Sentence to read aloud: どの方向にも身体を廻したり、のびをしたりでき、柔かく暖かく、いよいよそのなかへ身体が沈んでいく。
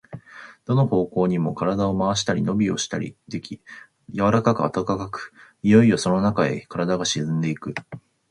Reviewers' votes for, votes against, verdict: 3, 0, accepted